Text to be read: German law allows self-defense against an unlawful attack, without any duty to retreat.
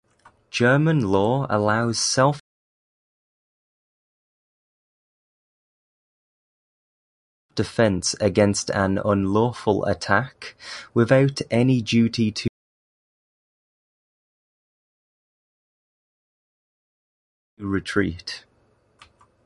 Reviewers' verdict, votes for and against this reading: rejected, 0, 2